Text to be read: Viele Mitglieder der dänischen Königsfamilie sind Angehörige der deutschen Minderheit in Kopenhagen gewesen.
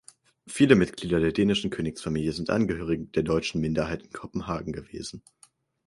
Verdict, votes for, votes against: accepted, 6, 2